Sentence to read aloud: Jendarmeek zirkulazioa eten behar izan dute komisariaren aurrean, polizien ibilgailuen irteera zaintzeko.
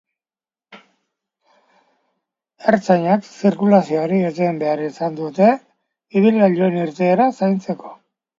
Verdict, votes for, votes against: rejected, 0, 2